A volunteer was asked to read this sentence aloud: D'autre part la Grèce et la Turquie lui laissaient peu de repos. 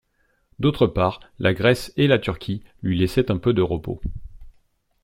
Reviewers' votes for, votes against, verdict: 0, 2, rejected